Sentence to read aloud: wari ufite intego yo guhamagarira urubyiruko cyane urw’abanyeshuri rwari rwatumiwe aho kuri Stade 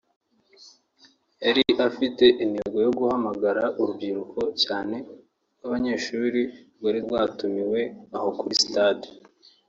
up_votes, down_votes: 0, 2